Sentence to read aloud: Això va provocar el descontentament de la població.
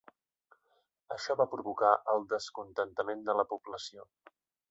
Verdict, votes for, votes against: accepted, 2, 0